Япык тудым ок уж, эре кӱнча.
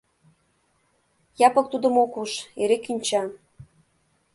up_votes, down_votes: 2, 0